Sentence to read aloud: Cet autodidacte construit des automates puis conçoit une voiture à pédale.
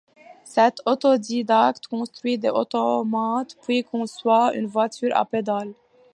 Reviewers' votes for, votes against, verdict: 0, 2, rejected